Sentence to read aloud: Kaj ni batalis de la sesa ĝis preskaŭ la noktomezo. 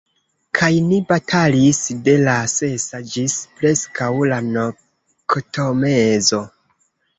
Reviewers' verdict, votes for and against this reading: rejected, 0, 2